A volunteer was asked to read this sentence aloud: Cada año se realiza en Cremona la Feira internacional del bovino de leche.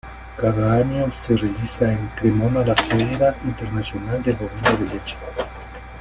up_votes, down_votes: 0, 2